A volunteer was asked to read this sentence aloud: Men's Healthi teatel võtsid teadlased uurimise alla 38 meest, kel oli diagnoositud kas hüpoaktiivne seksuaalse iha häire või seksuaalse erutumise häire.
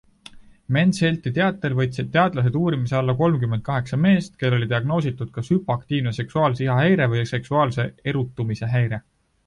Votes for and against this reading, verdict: 0, 2, rejected